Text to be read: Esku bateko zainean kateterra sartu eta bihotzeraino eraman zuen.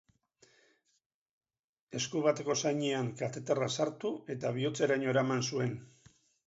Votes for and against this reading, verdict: 2, 0, accepted